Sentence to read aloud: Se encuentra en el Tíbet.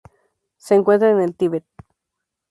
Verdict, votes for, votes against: rejected, 2, 2